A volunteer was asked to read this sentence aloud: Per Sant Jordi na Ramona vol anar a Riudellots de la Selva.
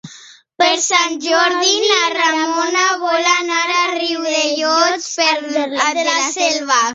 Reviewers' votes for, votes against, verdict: 0, 3, rejected